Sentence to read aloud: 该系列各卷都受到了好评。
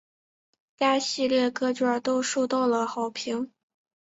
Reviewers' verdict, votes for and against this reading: accepted, 6, 0